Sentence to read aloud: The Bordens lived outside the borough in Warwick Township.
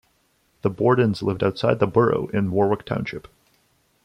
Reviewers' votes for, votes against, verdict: 2, 0, accepted